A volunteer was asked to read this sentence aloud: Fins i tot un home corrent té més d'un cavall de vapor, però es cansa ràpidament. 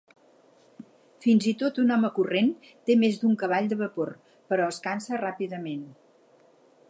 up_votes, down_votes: 2, 4